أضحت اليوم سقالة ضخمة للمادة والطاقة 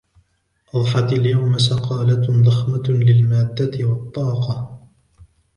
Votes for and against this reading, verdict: 0, 2, rejected